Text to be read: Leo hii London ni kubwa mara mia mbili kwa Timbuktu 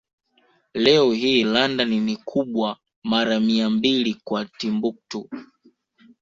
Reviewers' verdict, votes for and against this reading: accepted, 2, 0